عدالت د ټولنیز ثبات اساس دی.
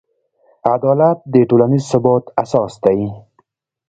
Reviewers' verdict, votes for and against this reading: accepted, 2, 0